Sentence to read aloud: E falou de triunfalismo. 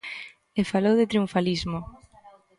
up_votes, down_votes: 2, 0